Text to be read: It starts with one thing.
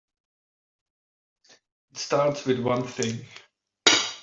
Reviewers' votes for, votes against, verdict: 0, 2, rejected